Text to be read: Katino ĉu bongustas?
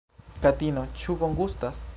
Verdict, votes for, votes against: rejected, 1, 2